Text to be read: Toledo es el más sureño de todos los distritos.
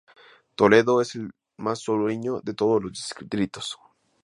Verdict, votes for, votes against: accepted, 2, 0